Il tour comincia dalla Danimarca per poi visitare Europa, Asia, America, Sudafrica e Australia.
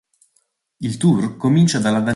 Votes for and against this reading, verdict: 0, 3, rejected